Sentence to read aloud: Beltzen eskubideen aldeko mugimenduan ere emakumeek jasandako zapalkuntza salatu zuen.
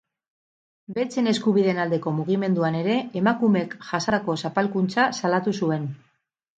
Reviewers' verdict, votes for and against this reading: rejected, 0, 2